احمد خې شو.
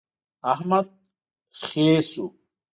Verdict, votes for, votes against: accepted, 2, 0